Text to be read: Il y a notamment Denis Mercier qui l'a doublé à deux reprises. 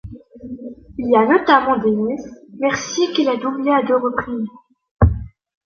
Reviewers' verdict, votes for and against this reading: rejected, 1, 2